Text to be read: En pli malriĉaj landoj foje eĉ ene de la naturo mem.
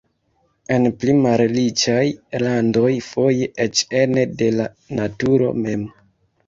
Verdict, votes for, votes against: rejected, 1, 2